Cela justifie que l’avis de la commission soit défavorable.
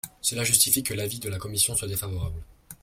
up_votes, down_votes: 2, 0